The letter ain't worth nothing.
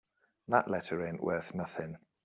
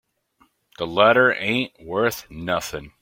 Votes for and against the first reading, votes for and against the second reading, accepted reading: 0, 2, 2, 0, second